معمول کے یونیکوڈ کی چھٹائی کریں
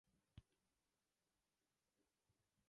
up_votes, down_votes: 0, 3